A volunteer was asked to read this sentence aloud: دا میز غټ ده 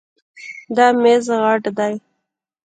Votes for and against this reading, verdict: 2, 0, accepted